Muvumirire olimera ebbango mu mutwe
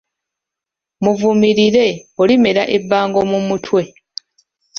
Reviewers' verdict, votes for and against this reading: rejected, 1, 2